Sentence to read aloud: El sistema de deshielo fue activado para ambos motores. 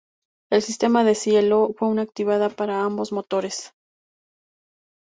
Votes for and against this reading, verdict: 2, 0, accepted